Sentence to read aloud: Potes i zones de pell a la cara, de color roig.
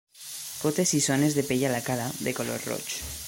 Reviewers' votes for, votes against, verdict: 2, 0, accepted